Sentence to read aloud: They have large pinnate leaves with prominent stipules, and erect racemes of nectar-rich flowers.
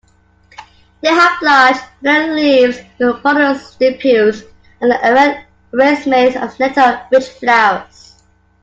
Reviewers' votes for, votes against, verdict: 0, 2, rejected